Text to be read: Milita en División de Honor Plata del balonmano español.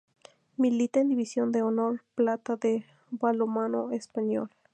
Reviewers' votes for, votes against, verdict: 2, 0, accepted